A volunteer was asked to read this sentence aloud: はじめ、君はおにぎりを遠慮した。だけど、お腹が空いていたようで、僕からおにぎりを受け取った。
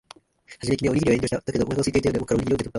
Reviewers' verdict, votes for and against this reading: rejected, 1, 2